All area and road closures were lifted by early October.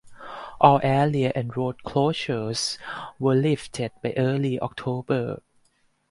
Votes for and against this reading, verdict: 4, 0, accepted